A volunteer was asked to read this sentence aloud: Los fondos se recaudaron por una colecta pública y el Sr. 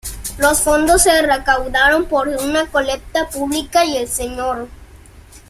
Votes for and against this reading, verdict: 1, 2, rejected